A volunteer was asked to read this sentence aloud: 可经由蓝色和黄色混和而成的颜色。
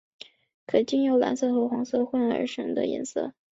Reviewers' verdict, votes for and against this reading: accepted, 2, 1